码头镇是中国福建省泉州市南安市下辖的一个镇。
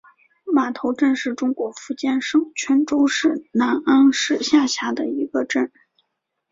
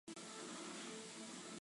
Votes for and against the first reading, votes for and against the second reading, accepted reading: 3, 0, 0, 2, first